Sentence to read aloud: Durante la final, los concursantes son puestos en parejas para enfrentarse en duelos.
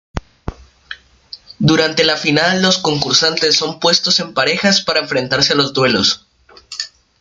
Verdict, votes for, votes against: rejected, 0, 2